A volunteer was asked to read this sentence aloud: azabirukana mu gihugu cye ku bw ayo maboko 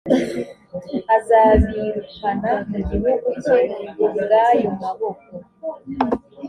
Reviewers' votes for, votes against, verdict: 2, 0, accepted